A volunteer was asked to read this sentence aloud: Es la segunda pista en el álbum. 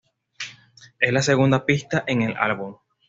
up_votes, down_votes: 0, 2